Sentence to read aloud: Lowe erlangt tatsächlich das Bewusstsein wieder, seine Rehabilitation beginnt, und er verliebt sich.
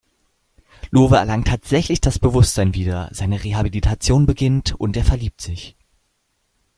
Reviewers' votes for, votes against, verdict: 2, 0, accepted